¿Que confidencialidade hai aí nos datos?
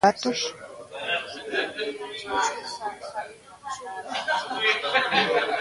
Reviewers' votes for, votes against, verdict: 0, 2, rejected